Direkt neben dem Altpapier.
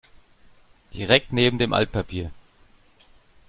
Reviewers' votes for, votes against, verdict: 2, 0, accepted